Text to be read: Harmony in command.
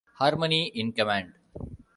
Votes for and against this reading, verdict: 2, 0, accepted